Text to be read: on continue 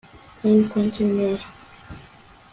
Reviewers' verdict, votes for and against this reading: rejected, 1, 2